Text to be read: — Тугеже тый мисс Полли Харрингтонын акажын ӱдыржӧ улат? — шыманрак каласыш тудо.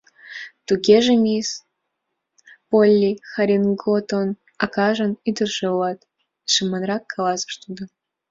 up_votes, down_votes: 0, 2